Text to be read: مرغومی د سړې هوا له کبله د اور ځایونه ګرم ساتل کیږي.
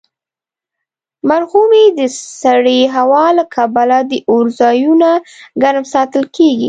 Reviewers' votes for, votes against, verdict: 1, 2, rejected